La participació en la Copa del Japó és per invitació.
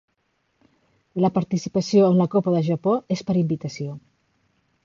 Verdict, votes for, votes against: accepted, 2, 0